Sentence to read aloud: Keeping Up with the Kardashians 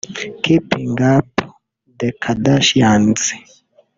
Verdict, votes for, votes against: rejected, 0, 2